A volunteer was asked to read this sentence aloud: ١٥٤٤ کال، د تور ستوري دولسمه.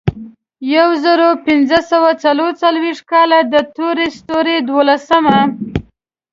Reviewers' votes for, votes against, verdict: 0, 2, rejected